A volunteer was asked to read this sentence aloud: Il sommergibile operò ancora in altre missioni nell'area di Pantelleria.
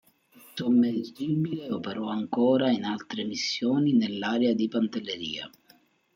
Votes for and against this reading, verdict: 0, 2, rejected